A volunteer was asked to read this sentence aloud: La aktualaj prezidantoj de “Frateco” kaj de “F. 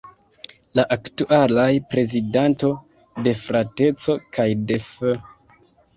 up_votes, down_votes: 1, 2